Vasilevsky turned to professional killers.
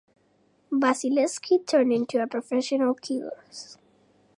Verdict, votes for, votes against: rejected, 1, 2